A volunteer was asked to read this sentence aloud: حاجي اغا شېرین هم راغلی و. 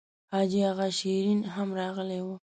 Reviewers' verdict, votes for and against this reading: accepted, 4, 0